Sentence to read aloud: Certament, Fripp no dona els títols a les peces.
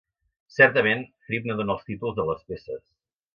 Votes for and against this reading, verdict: 0, 2, rejected